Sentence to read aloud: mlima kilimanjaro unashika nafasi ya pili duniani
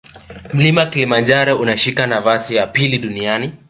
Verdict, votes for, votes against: accepted, 2, 0